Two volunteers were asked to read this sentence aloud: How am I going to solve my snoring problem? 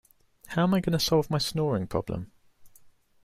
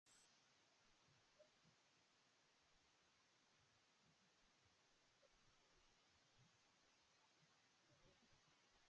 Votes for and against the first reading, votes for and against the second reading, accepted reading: 2, 0, 0, 2, first